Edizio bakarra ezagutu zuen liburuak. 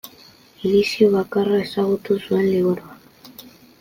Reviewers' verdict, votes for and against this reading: accepted, 2, 0